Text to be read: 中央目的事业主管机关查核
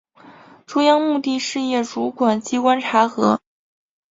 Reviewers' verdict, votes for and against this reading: accepted, 2, 0